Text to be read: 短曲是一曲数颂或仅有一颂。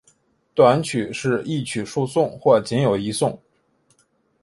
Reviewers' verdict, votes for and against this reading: accepted, 3, 0